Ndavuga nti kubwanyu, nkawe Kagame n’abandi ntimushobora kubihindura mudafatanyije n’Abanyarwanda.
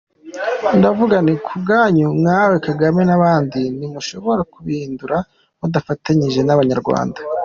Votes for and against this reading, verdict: 3, 2, accepted